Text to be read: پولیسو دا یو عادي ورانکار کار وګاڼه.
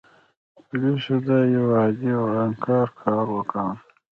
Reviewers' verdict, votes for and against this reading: accepted, 2, 1